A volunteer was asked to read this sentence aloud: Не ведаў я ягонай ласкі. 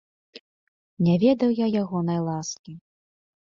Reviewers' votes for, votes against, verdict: 2, 0, accepted